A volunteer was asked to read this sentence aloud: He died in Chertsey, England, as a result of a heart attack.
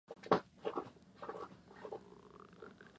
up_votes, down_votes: 0, 2